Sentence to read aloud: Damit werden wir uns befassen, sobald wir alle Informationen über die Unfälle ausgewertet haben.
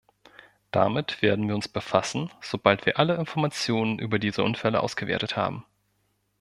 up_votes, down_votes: 0, 2